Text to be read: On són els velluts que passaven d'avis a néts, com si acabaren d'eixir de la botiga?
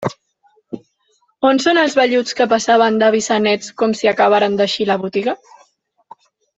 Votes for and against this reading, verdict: 1, 2, rejected